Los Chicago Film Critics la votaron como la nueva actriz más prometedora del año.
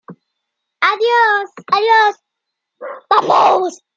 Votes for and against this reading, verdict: 0, 2, rejected